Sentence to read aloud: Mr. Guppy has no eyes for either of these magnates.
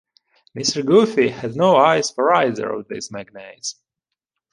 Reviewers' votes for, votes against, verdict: 0, 2, rejected